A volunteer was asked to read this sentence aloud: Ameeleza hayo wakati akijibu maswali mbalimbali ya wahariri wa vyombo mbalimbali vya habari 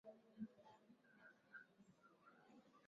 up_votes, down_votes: 0, 2